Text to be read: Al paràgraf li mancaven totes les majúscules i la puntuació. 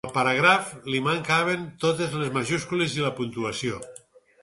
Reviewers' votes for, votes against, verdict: 0, 4, rejected